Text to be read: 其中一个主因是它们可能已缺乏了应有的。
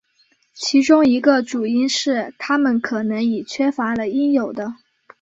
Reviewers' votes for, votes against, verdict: 3, 0, accepted